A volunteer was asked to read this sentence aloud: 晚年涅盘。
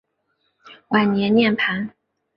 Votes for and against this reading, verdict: 2, 0, accepted